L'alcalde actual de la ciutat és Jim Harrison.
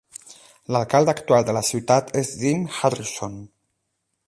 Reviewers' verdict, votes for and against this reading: accepted, 8, 0